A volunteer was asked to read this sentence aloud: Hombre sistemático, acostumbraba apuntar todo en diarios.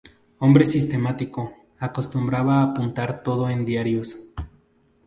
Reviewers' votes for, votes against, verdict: 0, 4, rejected